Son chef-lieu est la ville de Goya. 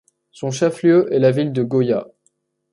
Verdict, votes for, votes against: accepted, 2, 0